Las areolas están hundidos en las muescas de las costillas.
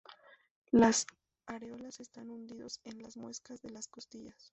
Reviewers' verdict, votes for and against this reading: rejected, 0, 2